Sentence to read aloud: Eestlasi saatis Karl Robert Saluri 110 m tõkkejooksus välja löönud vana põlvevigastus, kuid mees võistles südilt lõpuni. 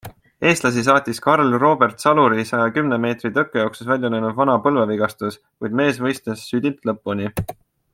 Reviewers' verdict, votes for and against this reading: rejected, 0, 2